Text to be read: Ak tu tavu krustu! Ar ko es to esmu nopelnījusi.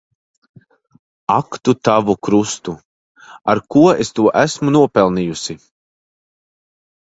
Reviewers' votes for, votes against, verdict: 2, 0, accepted